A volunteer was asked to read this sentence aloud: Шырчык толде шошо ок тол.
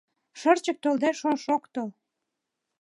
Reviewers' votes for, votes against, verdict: 2, 0, accepted